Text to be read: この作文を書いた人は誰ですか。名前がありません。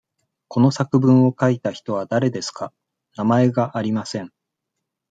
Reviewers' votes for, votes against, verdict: 2, 0, accepted